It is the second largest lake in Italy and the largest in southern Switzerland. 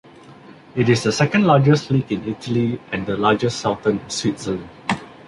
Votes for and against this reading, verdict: 1, 2, rejected